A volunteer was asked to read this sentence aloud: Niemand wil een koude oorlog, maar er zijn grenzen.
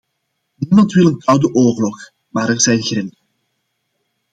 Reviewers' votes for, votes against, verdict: 1, 2, rejected